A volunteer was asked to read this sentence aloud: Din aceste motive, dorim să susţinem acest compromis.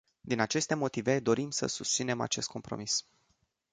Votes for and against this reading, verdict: 2, 0, accepted